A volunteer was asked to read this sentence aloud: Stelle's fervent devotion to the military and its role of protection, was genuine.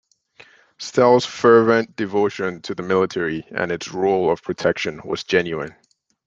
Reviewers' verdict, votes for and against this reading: accepted, 2, 0